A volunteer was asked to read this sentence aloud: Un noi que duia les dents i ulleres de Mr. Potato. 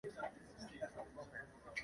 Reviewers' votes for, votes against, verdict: 0, 2, rejected